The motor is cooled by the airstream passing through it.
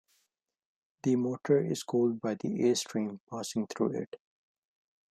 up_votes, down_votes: 2, 0